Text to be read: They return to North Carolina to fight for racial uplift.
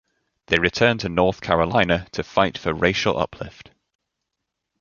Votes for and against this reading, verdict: 2, 0, accepted